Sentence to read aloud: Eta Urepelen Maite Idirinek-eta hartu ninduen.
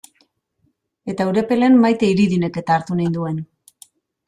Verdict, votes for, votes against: rejected, 1, 2